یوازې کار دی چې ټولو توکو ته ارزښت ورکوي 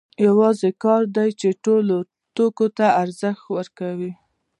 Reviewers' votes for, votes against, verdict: 2, 0, accepted